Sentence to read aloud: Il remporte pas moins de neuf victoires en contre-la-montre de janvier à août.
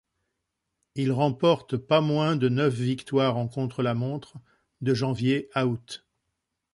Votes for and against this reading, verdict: 2, 0, accepted